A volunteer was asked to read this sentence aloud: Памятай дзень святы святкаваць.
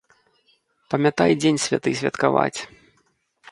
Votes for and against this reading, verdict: 1, 2, rejected